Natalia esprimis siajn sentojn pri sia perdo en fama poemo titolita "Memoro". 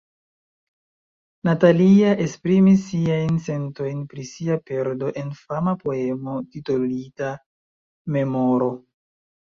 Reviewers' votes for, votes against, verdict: 2, 1, accepted